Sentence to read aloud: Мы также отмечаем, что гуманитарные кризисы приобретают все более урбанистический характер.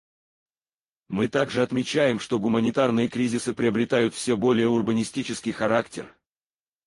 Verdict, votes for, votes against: rejected, 0, 4